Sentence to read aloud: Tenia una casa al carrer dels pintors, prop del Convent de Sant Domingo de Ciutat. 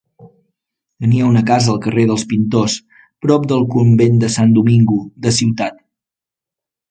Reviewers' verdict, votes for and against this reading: accepted, 2, 0